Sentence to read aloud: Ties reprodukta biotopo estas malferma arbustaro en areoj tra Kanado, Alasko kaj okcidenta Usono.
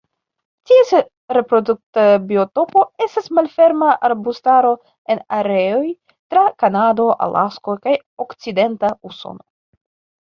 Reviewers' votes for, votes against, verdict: 0, 2, rejected